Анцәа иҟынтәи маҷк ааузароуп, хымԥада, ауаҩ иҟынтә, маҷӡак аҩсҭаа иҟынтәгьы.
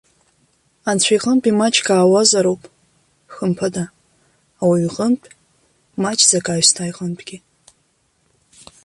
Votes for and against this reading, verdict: 1, 2, rejected